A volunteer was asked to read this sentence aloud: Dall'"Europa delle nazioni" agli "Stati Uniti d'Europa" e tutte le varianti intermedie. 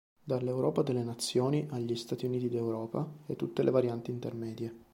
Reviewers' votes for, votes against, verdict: 2, 0, accepted